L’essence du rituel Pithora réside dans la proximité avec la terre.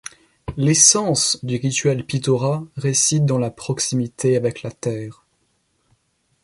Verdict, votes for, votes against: rejected, 0, 2